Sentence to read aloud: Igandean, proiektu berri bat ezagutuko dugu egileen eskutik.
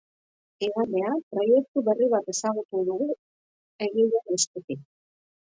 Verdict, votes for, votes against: rejected, 1, 2